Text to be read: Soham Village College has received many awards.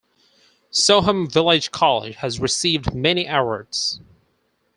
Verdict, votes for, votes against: rejected, 2, 4